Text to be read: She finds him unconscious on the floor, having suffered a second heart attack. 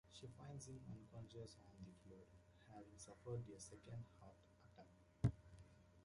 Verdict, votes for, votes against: rejected, 0, 2